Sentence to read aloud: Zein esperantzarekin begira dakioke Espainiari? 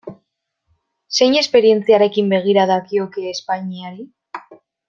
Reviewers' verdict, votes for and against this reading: rejected, 0, 2